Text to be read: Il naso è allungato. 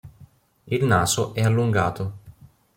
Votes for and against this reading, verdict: 2, 0, accepted